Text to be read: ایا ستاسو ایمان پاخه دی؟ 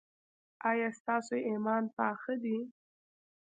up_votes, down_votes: 2, 0